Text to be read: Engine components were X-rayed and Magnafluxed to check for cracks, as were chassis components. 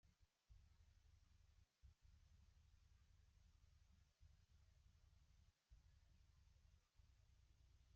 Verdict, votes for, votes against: rejected, 0, 2